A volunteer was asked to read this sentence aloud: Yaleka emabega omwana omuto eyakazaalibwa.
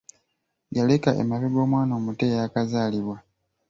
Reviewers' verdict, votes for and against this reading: accepted, 2, 0